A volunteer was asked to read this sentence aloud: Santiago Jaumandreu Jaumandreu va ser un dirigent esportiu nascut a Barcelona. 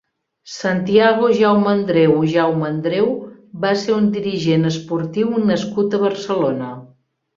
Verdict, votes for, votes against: accepted, 2, 0